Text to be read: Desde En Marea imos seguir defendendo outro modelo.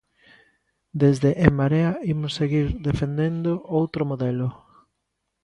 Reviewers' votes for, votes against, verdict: 2, 0, accepted